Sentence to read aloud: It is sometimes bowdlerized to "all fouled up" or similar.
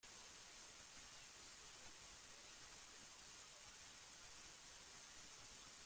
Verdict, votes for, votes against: rejected, 0, 2